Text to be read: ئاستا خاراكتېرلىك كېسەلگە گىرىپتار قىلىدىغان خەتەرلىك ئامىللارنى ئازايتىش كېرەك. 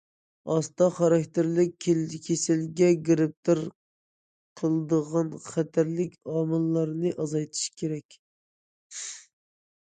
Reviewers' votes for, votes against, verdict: 0, 2, rejected